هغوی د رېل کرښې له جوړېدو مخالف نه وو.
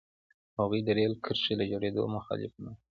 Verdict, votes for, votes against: accepted, 2, 0